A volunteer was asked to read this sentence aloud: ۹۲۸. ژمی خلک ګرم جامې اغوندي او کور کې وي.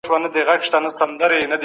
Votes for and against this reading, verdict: 0, 2, rejected